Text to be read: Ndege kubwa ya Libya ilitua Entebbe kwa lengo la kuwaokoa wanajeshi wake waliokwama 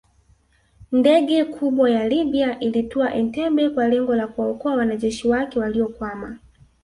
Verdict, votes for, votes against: rejected, 0, 2